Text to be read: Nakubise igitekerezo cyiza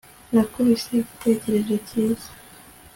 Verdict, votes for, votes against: accepted, 3, 0